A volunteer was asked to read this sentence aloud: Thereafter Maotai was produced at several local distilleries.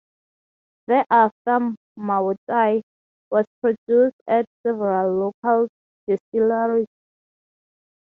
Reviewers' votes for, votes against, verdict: 3, 3, rejected